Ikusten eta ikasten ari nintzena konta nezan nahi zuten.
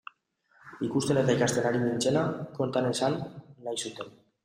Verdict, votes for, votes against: accepted, 2, 1